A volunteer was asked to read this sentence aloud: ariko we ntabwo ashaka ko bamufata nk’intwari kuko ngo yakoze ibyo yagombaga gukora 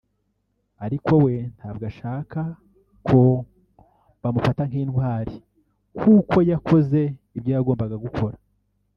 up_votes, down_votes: 0, 2